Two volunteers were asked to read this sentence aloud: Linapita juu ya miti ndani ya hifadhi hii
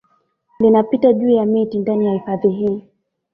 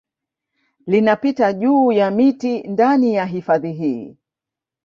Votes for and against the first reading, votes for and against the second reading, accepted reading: 0, 2, 2, 0, second